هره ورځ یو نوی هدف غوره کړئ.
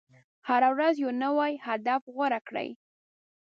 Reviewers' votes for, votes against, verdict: 2, 0, accepted